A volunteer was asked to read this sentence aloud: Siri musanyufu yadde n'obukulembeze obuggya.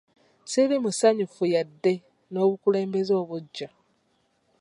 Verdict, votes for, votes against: accepted, 2, 0